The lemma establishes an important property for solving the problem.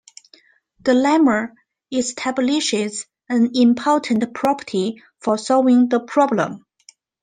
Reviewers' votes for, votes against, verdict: 2, 0, accepted